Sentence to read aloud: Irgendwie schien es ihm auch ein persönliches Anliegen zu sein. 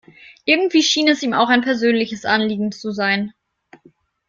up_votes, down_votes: 2, 0